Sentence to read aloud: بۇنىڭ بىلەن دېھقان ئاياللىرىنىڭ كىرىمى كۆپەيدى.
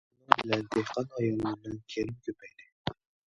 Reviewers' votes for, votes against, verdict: 1, 2, rejected